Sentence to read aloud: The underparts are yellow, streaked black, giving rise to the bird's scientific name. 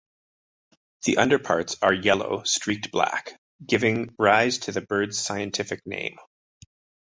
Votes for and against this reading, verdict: 2, 1, accepted